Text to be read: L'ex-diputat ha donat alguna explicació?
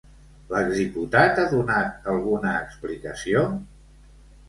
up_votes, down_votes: 2, 0